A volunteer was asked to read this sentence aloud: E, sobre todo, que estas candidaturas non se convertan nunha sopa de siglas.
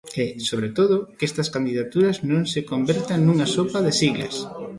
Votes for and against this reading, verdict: 2, 1, accepted